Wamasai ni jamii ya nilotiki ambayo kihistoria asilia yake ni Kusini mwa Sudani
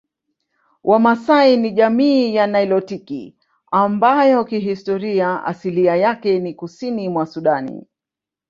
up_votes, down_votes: 2, 1